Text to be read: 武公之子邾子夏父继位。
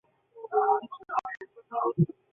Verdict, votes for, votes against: rejected, 0, 2